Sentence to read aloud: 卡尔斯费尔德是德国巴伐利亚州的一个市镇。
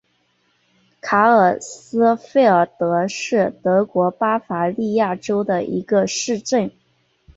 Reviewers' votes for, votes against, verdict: 3, 1, accepted